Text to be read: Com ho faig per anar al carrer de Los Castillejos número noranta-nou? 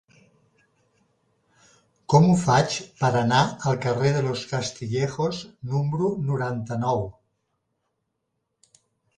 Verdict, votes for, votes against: rejected, 1, 2